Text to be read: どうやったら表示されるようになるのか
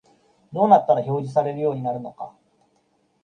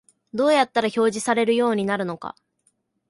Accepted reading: second